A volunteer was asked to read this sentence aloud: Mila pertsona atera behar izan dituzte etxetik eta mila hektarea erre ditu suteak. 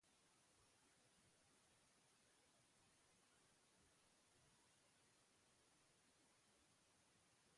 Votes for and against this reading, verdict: 0, 2, rejected